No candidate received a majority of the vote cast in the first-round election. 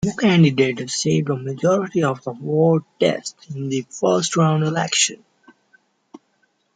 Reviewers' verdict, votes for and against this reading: rejected, 0, 2